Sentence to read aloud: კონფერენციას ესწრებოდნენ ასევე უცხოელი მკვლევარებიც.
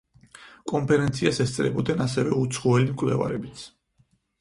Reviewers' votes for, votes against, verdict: 4, 0, accepted